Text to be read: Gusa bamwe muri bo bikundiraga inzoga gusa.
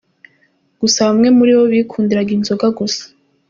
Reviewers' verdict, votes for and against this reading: accepted, 2, 0